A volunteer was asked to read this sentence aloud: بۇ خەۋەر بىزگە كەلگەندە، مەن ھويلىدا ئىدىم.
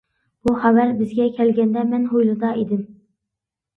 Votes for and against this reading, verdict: 3, 0, accepted